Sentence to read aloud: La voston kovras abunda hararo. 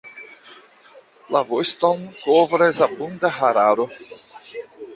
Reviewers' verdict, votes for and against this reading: rejected, 1, 2